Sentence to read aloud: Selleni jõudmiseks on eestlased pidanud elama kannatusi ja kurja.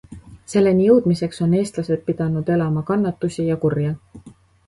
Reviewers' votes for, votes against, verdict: 2, 0, accepted